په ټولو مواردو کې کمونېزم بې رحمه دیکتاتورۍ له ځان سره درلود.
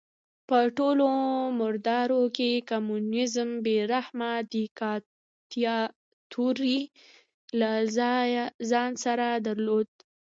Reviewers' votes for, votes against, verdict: 0, 2, rejected